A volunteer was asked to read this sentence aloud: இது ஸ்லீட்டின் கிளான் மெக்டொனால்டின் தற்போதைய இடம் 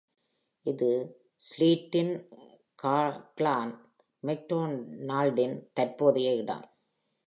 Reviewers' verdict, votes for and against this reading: rejected, 0, 2